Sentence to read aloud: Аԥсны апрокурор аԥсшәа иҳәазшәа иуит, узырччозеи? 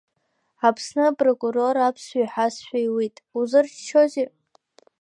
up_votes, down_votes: 2, 0